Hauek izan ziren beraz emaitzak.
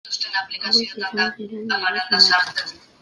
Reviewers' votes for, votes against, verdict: 0, 2, rejected